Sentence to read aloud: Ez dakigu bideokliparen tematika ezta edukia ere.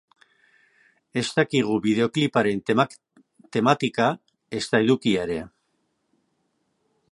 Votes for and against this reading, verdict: 2, 3, rejected